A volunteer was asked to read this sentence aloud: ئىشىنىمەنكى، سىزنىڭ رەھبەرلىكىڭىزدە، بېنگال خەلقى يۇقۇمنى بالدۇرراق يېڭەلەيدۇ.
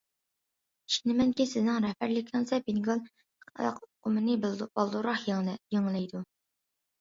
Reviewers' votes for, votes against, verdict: 0, 2, rejected